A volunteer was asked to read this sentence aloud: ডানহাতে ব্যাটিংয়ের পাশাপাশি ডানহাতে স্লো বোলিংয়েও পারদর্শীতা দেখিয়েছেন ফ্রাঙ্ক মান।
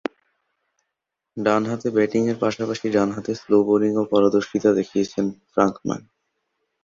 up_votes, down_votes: 2, 0